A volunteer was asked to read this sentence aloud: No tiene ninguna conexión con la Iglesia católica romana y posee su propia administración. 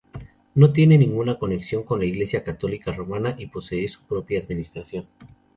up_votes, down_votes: 2, 0